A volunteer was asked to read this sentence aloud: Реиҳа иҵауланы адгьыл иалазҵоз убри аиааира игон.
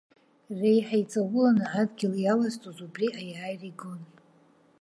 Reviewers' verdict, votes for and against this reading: accepted, 2, 0